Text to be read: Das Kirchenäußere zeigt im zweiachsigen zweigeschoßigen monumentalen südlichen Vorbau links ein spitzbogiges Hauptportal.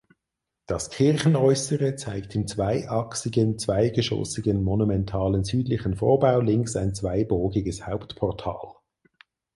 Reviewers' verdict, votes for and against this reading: rejected, 2, 4